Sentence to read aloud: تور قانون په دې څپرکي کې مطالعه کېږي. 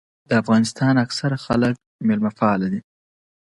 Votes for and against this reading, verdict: 0, 2, rejected